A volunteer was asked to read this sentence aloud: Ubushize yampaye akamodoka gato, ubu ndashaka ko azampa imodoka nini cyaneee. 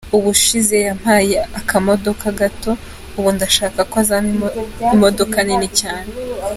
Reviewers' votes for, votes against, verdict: 1, 2, rejected